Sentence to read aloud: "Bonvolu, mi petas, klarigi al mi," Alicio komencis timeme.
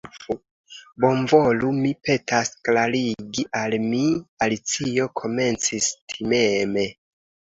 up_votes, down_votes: 2, 1